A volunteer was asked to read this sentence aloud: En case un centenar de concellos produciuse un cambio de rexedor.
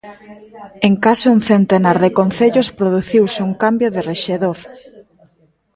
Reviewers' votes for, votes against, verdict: 1, 2, rejected